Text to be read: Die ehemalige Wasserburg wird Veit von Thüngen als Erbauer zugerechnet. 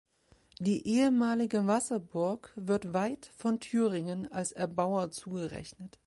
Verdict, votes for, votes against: rejected, 0, 2